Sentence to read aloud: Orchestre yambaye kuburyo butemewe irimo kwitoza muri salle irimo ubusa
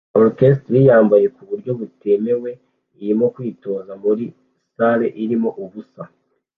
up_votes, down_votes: 2, 0